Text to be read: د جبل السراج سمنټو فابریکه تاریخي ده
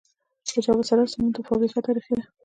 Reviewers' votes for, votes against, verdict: 0, 2, rejected